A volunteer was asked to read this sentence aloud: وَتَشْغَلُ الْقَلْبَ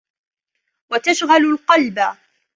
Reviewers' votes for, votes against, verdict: 2, 0, accepted